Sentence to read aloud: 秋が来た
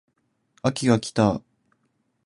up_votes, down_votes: 2, 0